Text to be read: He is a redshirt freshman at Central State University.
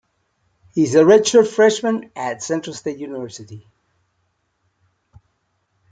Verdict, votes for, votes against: accepted, 2, 0